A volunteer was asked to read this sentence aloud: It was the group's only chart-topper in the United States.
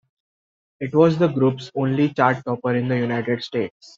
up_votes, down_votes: 2, 0